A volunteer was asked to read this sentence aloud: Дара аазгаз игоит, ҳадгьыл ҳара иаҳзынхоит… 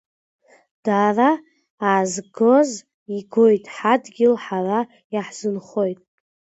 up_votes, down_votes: 0, 2